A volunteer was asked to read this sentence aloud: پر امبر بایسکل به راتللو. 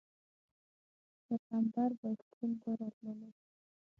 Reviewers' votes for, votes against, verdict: 0, 6, rejected